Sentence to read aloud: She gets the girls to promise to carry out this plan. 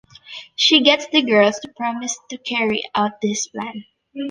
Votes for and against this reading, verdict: 2, 1, accepted